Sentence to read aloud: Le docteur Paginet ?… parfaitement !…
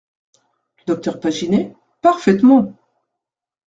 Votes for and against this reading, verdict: 2, 1, accepted